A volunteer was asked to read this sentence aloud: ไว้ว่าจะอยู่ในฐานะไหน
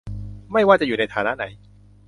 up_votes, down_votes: 0, 2